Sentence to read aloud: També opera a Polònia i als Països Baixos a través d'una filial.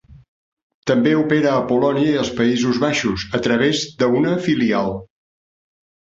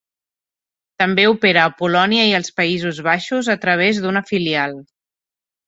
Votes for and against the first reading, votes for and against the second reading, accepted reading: 0, 2, 3, 0, second